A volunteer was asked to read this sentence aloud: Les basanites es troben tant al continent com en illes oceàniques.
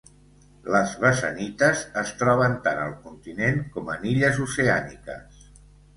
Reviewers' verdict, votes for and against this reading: accepted, 2, 0